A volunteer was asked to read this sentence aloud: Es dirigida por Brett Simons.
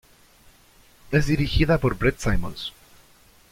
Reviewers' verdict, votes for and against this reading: accepted, 2, 0